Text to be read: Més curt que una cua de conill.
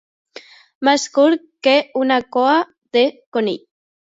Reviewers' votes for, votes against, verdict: 2, 0, accepted